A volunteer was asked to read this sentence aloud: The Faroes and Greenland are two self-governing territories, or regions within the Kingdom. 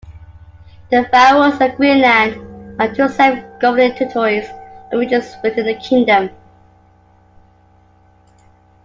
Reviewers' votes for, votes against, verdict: 0, 2, rejected